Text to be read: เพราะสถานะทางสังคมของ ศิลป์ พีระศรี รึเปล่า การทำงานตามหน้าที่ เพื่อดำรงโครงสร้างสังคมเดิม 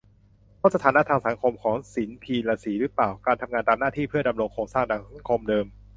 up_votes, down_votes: 0, 2